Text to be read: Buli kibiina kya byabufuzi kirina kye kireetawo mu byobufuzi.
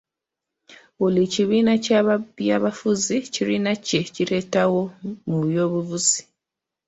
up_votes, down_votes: 1, 2